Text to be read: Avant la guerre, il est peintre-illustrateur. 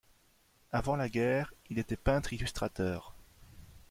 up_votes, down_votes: 0, 2